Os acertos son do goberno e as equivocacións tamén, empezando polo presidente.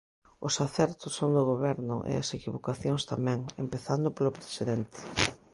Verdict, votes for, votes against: accepted, 2, 0